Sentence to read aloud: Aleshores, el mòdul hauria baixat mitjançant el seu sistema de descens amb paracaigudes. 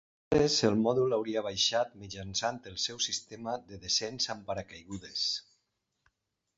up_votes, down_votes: 0, 2